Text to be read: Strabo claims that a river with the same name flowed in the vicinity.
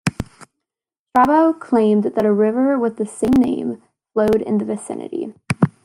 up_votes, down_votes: 0, 2